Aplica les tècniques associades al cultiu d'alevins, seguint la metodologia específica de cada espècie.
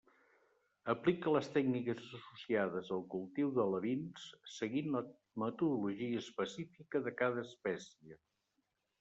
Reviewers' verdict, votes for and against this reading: rejected, 1, 2